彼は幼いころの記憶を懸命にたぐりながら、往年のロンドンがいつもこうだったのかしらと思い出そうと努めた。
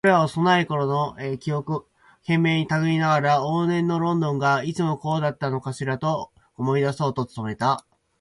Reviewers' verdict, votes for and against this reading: accepted, 4, 0